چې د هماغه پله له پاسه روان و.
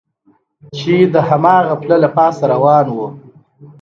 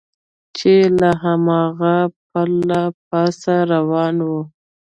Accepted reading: first